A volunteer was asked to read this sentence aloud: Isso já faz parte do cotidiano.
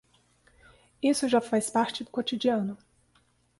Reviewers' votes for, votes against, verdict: 2, 0, accepted